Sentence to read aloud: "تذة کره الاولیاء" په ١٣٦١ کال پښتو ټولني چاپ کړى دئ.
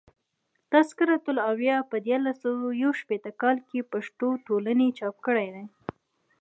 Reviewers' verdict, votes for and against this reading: rejected, 0, 2